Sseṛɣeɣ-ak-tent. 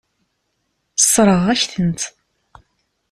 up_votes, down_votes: 2, 0